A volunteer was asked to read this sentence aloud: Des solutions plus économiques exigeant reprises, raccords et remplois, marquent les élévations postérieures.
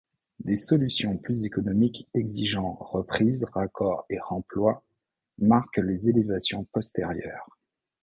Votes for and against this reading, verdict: 2, 0, accepted